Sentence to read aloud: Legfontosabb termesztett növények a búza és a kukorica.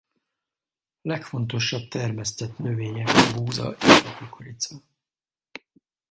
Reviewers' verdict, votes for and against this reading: rejected, 0, 4